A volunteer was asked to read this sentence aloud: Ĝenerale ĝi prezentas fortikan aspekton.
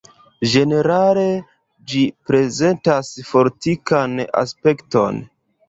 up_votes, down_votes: 0, 2